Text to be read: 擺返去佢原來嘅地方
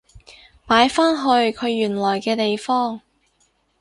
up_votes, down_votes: 4, 0